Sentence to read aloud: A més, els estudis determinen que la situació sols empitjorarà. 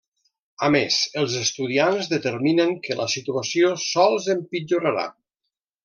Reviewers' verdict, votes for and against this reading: rejected, 0, 2